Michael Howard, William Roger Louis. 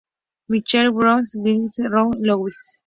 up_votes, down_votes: 0, 2